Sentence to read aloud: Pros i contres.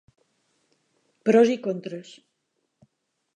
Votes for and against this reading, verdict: 2, 0, accepted